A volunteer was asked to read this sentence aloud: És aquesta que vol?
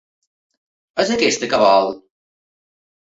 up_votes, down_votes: 2, 0